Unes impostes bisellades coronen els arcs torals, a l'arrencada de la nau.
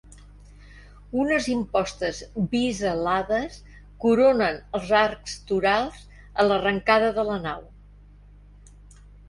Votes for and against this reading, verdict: 1, 2, rejected